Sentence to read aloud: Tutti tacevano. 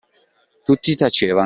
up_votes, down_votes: 0, 2